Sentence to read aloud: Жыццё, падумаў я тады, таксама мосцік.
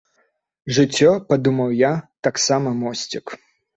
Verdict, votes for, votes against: rejected, 0, 2